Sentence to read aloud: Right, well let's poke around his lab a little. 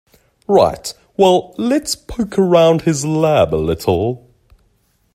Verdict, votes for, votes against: accepted, 4, 0